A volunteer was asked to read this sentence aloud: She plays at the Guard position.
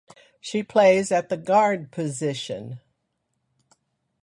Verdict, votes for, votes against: accepted, 2, 0